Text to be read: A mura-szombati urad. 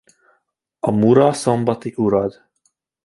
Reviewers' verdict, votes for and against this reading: accepted, 2, 0